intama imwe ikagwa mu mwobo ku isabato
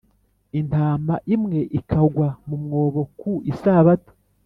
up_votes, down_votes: 1, 2